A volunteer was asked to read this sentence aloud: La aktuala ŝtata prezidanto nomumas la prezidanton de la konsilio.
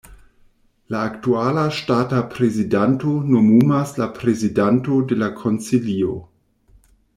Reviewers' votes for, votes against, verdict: 1, 2, rejected